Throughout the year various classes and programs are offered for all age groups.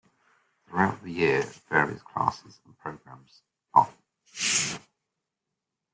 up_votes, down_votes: 0, 2